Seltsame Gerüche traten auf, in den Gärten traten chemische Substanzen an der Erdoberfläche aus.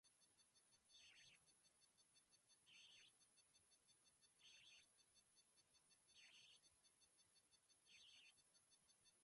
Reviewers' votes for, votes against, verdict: 0, 2, rejected